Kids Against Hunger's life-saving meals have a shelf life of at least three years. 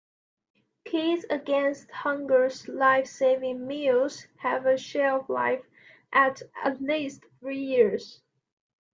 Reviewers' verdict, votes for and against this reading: rejected, 0, 2